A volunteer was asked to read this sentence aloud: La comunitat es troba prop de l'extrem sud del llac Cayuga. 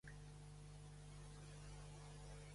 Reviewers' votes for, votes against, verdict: 1, 2, rejected